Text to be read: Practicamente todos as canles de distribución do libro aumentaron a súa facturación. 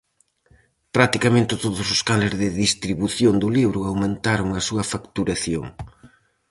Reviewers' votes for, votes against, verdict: 0, 2, rejected